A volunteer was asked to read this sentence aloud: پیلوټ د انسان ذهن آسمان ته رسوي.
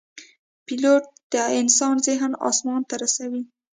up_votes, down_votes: 0, 2